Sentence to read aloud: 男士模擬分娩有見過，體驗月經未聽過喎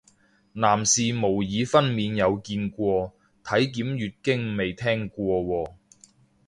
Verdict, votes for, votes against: rejected, 0, 3